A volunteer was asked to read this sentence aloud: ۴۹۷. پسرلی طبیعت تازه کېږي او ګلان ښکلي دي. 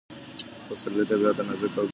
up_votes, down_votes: 0, 2